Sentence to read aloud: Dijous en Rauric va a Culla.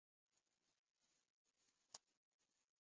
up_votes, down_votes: 0, 2